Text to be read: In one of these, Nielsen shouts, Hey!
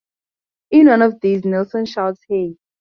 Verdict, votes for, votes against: accepted, 2, 0